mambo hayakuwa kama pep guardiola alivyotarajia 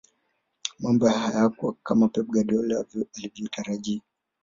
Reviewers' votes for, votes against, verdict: 2, 1, accepted